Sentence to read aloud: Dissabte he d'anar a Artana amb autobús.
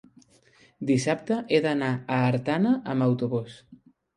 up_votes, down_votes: 5, 0